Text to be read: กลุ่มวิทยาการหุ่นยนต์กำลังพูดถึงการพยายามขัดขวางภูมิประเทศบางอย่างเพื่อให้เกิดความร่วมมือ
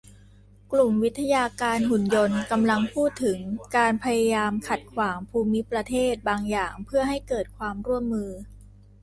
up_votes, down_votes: 2, 0